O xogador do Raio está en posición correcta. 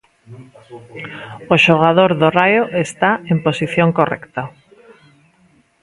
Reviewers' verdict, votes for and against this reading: rejected, 1, 2